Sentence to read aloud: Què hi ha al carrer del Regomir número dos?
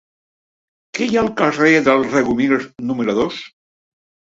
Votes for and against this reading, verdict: 1, 2, rejected